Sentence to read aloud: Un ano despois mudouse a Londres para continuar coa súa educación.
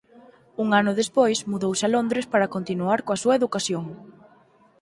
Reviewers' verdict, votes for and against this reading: accepted, 4, 0